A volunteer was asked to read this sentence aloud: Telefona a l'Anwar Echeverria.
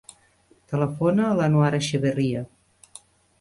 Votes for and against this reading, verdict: 2, 0, accepted